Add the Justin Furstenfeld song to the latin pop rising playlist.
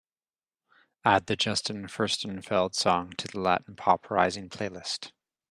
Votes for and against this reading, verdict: 2, 0, accepted